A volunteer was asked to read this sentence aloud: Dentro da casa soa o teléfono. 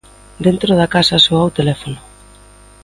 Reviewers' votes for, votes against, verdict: 2, 0, accepted